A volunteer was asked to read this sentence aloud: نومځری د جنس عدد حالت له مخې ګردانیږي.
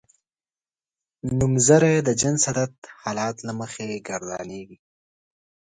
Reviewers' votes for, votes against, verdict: 2, 0, accepted